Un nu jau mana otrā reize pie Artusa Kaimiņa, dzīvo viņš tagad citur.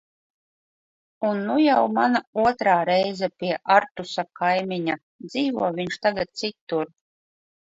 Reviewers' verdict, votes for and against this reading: rejected, 2, 3